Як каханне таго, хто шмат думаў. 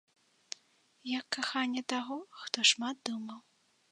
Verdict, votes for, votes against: accepted, 2, 0